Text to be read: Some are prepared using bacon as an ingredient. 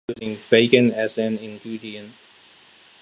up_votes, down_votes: 0, 2